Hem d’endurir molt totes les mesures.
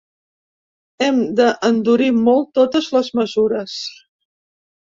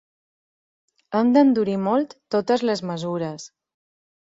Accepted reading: second